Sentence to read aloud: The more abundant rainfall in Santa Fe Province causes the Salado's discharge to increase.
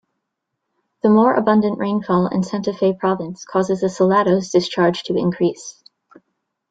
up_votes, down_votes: 2, 0